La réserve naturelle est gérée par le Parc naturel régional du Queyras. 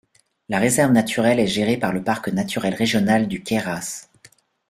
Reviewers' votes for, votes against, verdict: 2, 0, accepted